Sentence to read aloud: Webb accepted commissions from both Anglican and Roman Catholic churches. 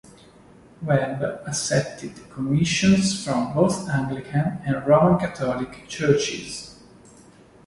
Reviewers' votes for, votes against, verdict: 2, 0, accepted